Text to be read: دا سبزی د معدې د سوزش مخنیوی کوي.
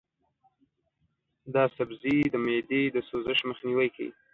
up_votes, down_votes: 1, 2